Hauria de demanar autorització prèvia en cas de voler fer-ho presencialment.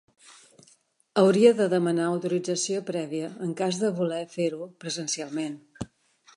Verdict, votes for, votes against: accepted, 3, 0